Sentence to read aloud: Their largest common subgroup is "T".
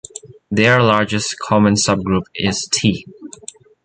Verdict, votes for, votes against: accepted, 2, 0